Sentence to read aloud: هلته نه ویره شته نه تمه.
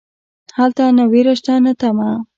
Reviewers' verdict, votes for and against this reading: accepted, 2, 0